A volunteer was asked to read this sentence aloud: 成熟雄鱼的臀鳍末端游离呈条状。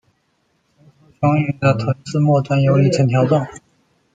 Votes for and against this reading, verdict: 0, 2, rejected